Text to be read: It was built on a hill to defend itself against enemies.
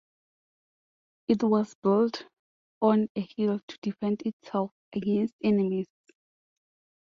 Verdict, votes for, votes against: rejected, 0, 2